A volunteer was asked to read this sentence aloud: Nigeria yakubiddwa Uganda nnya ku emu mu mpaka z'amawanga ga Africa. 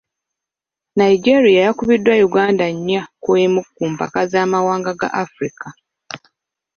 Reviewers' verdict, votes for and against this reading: accepted, 2, 0